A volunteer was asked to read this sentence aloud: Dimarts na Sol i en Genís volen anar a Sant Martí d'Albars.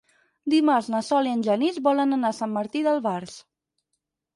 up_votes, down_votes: 6, 0